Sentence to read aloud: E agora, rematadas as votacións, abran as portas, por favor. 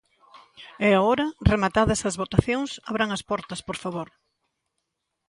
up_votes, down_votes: 1, 2